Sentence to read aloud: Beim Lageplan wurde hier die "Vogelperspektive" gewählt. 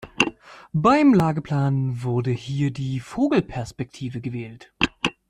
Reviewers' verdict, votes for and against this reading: accepted, 2, 0